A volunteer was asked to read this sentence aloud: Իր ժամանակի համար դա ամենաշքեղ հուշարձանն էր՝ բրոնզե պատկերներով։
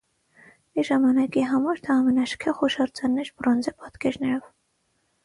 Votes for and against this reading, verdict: 6, 0, accepted